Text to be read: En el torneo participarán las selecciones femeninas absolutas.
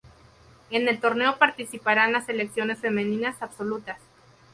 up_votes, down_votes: 2, 0